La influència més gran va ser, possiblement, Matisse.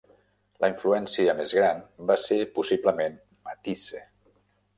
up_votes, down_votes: 0, 2